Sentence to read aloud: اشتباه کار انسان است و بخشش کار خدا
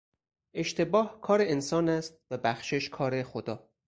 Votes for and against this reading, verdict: 4, 0, accepted